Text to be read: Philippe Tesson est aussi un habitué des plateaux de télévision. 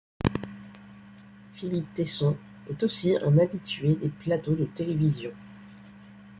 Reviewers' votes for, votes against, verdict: 2, 0, accepted